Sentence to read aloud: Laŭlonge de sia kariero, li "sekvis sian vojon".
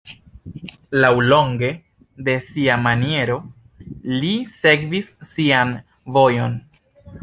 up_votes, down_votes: 1, 2